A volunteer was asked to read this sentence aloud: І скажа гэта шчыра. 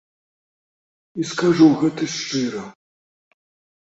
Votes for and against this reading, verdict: 0, 2, rejected